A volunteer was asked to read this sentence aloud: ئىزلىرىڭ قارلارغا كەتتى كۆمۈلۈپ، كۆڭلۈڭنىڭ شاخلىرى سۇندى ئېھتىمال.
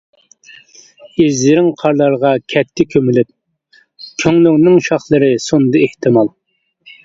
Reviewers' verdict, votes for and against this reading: rejected, 0, 2